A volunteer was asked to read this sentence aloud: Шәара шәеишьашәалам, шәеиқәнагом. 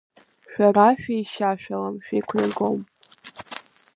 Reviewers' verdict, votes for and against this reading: accepted, 2, 1